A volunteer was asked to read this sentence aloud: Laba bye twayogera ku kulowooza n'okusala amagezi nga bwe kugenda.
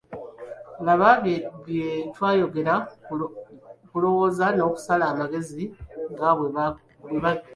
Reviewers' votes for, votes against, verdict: 1, 2, rejected